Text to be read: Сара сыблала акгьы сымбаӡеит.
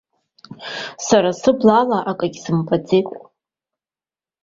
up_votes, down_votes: 2, 1